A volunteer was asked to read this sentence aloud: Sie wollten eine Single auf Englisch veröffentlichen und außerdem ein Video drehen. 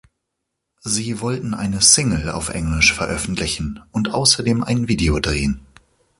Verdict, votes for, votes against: accepted, 2, 0